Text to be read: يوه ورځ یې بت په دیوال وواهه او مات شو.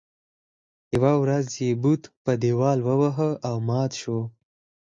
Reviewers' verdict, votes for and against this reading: rejected, 2, 4